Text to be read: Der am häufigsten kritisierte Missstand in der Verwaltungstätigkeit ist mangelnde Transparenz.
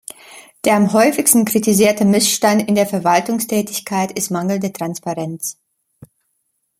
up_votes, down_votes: 2, 0